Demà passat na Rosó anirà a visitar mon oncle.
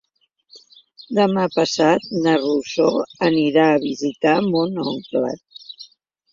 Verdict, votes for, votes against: accepted, 2, 0